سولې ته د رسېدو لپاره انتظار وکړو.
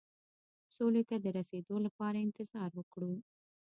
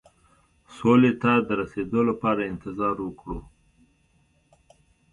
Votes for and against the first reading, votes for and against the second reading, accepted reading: 1, 2, 2, 0, second